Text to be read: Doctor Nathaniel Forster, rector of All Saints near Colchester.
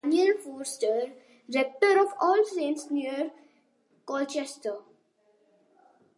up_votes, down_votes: 0, 2